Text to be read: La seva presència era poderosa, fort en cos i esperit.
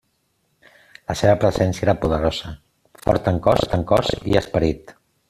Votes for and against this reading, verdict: 0, 2, rejected